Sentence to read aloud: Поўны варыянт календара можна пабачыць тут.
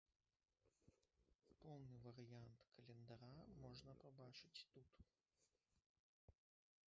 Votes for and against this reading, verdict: 1, 3, rejected